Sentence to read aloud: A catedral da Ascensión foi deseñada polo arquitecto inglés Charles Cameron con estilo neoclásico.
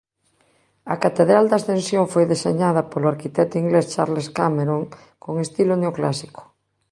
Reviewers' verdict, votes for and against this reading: accepted, 2, 0